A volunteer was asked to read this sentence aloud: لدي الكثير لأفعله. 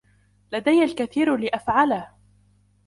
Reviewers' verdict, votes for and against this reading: accepted, 2, 0